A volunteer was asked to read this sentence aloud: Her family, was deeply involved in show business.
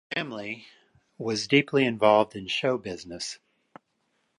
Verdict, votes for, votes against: rejected, 0, 2